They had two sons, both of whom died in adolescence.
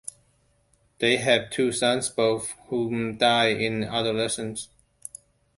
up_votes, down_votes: 0, 2